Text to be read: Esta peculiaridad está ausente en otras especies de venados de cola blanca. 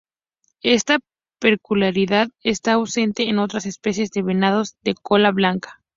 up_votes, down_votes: 0, 2